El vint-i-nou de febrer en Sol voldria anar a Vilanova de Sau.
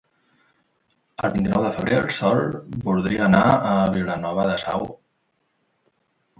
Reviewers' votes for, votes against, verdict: 0, 2, rejected